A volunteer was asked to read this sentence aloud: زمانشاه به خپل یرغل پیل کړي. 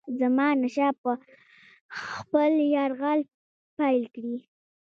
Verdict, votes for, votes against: rejected, 0, 2